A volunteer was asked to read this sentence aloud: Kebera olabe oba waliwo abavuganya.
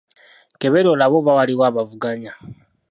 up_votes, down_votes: 0, 2